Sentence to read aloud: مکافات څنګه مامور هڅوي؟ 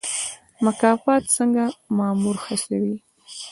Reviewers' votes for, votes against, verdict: 1, 2, rejected